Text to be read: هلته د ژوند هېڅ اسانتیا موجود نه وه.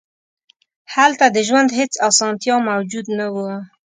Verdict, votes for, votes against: accepted, 2, 0